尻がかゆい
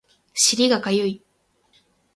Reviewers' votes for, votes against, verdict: 8, 0, accepted